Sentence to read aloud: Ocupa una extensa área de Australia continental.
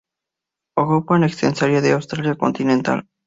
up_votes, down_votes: 0, 2